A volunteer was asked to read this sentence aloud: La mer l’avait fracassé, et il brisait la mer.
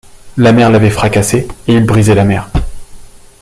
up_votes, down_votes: 2, 0